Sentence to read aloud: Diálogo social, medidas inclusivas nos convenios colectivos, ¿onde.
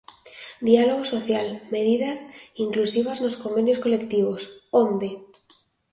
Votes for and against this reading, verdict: 2, 0, accepted